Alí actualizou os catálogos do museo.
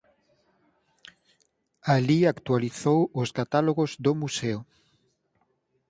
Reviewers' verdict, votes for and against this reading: accepted, 4, 0